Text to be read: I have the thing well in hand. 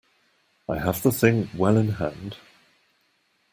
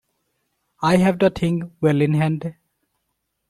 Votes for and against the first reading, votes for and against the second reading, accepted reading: 2, 0, 0, 2, first